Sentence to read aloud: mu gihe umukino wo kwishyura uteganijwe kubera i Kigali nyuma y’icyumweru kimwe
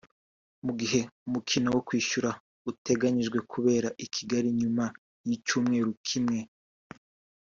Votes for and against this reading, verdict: 2, 0, accepted